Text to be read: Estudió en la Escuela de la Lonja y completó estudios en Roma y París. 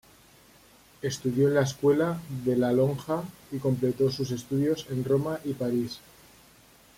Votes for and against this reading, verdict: 1, 2, rejected